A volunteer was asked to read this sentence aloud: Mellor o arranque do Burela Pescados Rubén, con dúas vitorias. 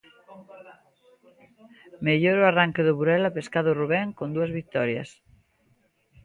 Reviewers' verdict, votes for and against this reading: rejected, 1, 2